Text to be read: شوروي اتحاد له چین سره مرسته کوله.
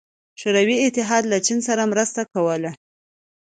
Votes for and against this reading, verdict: 2, 0, accepted